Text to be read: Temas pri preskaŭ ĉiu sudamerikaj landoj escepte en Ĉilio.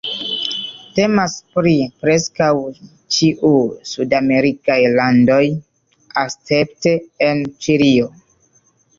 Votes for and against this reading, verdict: 0, 2, rejected